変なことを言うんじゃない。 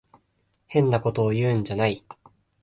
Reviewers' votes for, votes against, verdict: 7, 0, accepted